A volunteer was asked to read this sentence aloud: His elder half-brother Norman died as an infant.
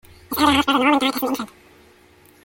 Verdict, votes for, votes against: rejected, 0, 2